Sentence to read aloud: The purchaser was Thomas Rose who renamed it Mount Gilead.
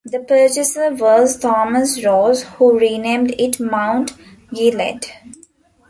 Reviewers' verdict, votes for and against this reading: rejected, 0, 2